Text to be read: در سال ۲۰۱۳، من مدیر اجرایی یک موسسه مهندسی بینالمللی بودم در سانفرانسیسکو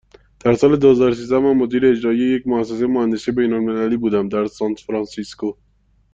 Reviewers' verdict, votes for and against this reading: rejected, 0, 2